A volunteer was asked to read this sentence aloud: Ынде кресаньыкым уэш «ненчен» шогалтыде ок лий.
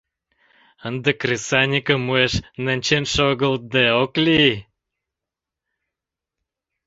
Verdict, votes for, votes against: rejected, 1, 2